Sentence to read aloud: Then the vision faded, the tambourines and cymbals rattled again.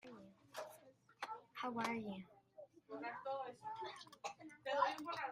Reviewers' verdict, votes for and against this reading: rejected, 0, 2